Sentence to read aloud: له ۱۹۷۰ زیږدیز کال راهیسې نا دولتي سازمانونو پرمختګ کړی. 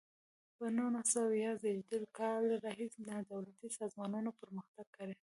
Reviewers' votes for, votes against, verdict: 0, 2, rejected